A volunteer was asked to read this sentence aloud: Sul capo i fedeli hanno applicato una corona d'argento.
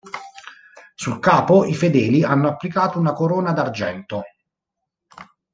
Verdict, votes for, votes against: accepted, 2, 0